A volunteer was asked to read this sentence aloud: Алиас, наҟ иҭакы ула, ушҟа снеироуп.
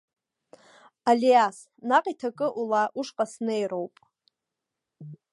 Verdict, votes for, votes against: rejected, 1, 2